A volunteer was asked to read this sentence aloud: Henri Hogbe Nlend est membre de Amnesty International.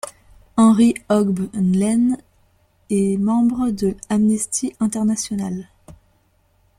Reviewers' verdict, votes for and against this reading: rejected, 0, 2